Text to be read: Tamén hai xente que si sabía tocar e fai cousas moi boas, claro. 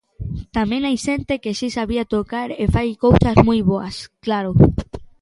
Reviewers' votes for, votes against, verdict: 3, 0, accepted